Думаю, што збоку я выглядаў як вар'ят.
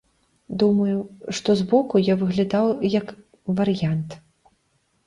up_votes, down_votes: 0, 2